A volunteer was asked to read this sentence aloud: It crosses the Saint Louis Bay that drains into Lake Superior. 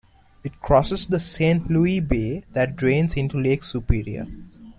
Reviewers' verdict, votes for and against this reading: accepted, 2, 0